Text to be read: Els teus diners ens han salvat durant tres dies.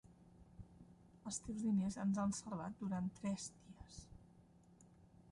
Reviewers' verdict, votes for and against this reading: rejected, 1, 2